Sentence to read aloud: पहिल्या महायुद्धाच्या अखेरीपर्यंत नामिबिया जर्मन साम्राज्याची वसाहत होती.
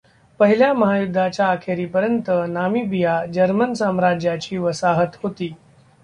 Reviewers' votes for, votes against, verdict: 0, 2, rejected